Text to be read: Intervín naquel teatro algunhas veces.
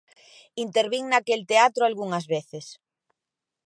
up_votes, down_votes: 2, 0